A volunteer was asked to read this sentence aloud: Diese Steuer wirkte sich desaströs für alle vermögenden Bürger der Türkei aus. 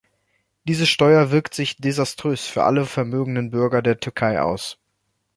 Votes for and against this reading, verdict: 1, 2, rejected